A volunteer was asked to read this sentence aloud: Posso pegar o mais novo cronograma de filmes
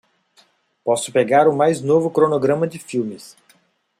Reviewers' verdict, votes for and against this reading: accepted, 2, 0